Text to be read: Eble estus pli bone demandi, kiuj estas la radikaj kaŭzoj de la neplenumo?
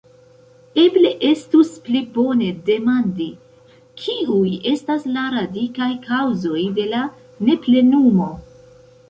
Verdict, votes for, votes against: rejected, 0, 2